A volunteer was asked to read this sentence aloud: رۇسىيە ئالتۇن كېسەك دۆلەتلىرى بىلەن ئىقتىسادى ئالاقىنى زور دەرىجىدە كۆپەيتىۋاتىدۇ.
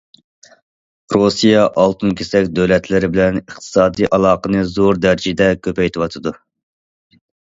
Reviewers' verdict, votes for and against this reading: accepted, 2, 0